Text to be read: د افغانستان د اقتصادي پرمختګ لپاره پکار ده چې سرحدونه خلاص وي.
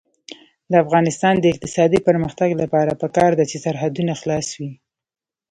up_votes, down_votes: 0, 2